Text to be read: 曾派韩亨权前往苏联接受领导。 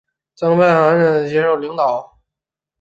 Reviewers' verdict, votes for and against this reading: rejected, 0, 2